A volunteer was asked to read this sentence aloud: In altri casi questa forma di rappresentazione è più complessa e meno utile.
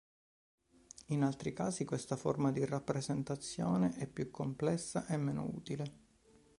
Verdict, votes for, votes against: rejected, 1, 3